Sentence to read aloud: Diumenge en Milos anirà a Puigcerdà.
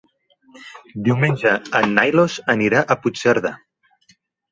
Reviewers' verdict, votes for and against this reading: rejected, 1, 3